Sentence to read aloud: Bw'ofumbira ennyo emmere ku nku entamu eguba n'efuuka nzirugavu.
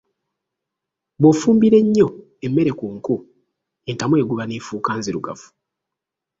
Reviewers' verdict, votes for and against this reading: rejected, 1, 2